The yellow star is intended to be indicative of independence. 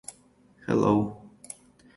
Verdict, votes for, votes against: rejected, 0, 2